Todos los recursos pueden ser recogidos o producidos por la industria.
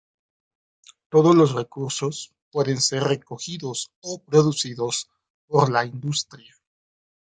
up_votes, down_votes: 2, 0